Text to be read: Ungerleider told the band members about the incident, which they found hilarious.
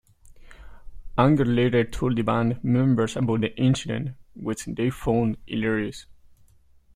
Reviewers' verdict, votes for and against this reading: accepted, 2, 0